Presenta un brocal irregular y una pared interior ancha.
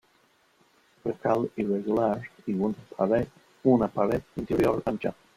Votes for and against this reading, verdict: 0, 2, rejected